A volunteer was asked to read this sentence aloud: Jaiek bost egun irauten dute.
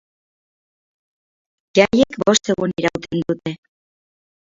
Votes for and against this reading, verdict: 2, 2, rejected